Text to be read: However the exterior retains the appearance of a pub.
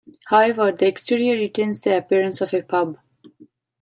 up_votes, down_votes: 2, 0